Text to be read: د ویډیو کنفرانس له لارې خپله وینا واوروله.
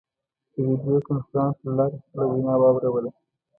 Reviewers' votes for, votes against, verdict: 0, 2, rejected